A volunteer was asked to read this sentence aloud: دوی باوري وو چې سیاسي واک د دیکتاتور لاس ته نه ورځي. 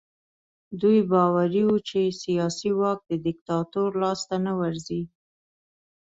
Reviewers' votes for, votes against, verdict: 2, 0, accepted